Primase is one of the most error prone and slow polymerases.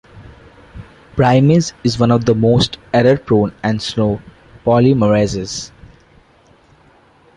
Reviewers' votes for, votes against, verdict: 3, 0, accepted